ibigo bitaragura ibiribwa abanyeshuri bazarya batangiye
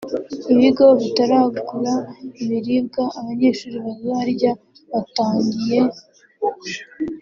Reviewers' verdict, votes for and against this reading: accepted, 3, 0